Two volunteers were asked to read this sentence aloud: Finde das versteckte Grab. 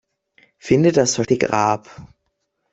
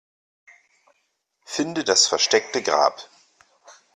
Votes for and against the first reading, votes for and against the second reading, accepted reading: 0, 2, 2, 0, second